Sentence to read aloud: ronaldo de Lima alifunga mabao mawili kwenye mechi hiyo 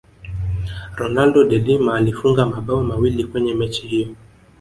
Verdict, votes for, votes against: rejected, 1, 2